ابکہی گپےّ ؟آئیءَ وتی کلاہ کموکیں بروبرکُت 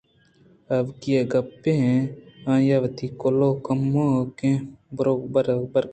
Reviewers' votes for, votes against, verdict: 2, 0, accepted